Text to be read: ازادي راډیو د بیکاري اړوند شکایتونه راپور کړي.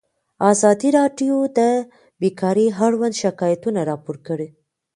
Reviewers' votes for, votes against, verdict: 1, 2, rejected